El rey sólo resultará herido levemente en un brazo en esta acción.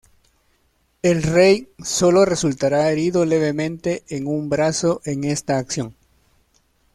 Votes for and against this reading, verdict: 2, 1, accepted